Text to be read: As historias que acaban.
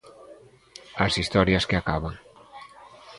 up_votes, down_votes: 2, 0